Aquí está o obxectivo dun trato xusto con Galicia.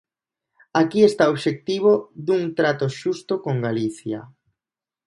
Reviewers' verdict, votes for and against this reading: accepted, 2, 0